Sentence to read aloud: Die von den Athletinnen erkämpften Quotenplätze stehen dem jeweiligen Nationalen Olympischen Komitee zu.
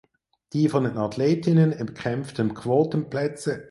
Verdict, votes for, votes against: rejected, 0, 4